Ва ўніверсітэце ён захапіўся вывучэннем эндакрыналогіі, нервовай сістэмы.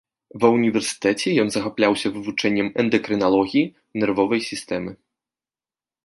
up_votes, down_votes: 0, 3